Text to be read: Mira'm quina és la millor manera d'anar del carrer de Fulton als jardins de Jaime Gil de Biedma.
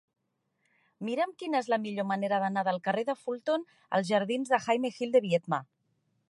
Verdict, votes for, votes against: accepted, 3, 0